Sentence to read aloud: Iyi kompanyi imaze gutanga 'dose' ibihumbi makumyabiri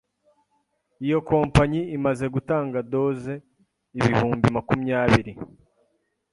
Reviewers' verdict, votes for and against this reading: rejected, 0, 2